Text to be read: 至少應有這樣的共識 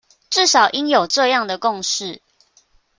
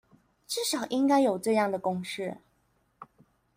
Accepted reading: first